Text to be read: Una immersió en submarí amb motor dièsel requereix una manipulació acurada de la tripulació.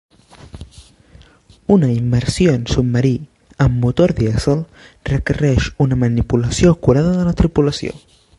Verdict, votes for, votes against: accepted, 2, 0